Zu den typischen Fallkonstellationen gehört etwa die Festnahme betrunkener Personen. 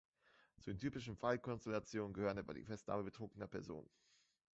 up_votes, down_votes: 1, 2